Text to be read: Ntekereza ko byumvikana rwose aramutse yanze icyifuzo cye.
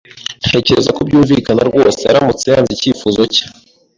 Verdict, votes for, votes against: accepted, 2, 0